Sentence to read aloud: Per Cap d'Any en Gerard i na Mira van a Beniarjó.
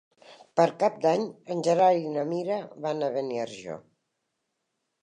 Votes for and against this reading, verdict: 2, 0, accepted